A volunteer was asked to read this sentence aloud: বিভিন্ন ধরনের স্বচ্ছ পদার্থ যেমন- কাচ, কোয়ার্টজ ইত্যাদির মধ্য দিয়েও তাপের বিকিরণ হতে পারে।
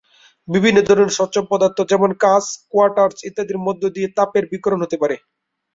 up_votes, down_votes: 11, 5